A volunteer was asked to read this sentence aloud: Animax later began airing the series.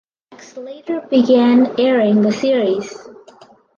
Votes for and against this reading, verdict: 0, 4, rejected